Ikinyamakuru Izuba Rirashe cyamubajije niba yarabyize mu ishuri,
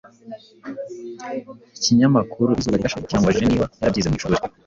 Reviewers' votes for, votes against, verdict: 1, 2, rejected